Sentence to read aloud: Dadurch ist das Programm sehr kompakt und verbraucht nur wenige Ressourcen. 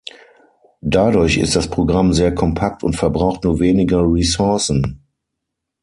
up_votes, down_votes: 3, 6